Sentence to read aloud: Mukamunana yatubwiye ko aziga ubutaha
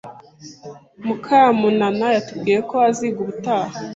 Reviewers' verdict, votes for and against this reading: accepted, 2, 0